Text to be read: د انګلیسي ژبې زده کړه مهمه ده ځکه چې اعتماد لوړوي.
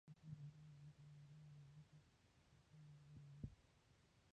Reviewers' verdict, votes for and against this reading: rejected, 1, 2